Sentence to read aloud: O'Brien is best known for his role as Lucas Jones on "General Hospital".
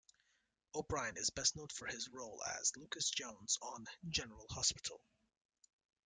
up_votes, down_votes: 2, 0